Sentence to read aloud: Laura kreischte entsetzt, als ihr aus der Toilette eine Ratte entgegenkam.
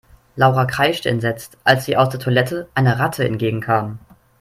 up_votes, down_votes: 3, 0